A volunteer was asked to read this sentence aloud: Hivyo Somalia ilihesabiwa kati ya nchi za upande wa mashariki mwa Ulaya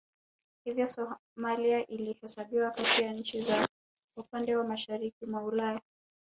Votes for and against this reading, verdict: 0, 2, rejected